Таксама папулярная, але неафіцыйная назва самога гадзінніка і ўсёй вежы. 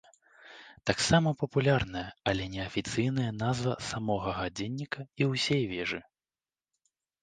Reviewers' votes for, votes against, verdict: 0, 2, rejected